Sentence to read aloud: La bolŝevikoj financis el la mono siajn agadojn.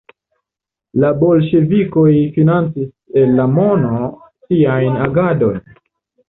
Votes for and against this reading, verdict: 2, 0, accepted